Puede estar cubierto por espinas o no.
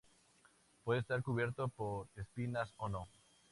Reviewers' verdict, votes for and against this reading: accepted, 2, 0